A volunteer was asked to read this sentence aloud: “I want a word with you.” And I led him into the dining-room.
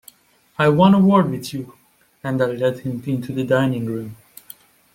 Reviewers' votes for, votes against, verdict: 2, 1, accepted